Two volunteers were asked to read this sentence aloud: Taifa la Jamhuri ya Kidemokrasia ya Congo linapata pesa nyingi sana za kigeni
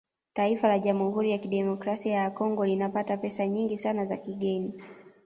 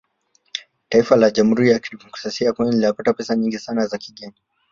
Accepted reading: first